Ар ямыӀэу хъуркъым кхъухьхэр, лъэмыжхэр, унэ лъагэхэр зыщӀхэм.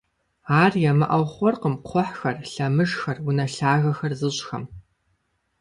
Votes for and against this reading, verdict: 2, 0, accepted